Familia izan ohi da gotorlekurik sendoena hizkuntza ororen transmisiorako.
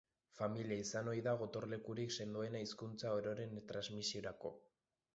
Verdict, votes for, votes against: accepted, 2, 1